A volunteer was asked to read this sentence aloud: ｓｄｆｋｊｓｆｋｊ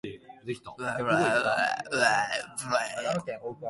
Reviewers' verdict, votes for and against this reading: rejected, 0, 4